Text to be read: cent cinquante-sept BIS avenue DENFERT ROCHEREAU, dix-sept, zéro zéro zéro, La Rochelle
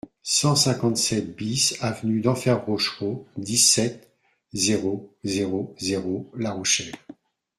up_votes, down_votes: 2, 0